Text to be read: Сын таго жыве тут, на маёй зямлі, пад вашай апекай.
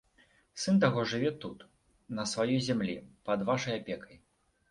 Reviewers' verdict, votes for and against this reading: rejected, 0, 2